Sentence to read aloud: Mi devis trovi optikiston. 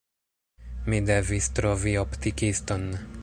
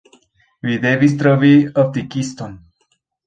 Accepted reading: second